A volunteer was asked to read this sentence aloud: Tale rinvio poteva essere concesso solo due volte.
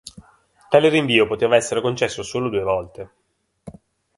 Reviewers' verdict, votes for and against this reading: accepted, 3, 0